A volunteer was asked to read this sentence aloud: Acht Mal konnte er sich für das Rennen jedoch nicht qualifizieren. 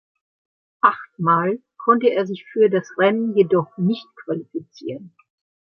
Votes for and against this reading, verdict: 2, 1, accepted